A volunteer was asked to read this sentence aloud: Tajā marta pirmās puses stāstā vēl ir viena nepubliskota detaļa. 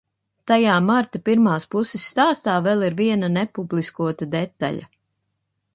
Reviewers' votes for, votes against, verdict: 2, 0, accepted